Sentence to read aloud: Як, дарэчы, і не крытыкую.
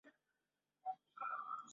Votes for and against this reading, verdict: 0, 2, rejected